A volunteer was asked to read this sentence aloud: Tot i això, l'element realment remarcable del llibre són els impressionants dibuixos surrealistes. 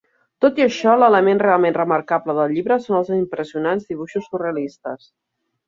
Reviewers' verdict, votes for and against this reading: accepted, 3, 0